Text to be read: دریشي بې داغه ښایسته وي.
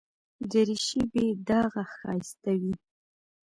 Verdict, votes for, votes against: accepted, 2, 1